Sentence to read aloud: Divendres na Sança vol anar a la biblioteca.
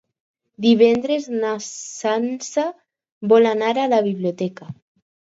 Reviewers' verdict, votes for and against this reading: accepted, 4, 0